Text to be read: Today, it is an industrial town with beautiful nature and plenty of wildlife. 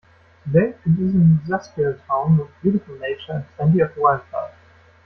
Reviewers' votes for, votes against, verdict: 1, 2, rejected